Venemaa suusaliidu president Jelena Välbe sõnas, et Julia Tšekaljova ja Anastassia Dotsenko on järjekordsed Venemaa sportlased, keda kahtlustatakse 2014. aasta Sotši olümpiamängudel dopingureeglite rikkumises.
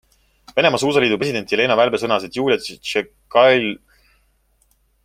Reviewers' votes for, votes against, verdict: 0, 2, rejected